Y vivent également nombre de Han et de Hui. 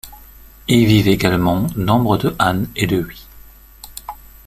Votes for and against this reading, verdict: 2, 0, accepted